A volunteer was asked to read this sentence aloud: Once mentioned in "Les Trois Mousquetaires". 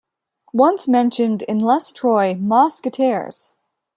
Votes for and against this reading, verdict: 1, 2, rejected